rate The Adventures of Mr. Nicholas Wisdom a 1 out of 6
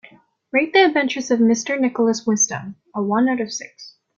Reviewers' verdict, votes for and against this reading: rejected, 0, 2